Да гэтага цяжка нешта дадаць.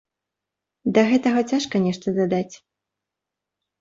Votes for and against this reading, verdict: 2, 0, accepted